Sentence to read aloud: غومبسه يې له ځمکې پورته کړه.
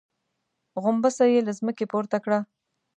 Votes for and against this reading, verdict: 2, 0, accepted